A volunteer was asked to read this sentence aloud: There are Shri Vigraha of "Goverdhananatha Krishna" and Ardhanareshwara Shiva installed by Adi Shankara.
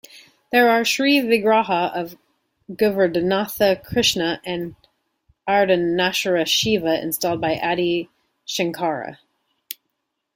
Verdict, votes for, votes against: rejected, 1, 2